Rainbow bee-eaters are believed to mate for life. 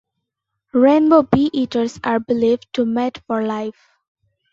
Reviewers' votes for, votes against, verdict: 2, 0, accepted